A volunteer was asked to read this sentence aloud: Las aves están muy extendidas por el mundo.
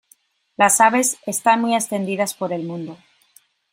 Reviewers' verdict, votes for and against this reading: accepted, 2, 0